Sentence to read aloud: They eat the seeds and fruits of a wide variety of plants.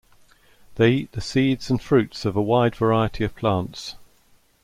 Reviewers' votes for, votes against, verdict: 2, 0, accepted